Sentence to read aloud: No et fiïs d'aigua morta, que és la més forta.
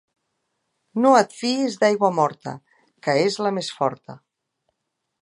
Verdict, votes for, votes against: accepted, 2, 0